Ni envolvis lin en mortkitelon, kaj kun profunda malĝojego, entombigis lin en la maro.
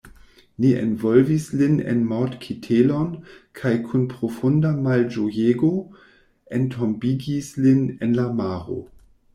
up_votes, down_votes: 2, 0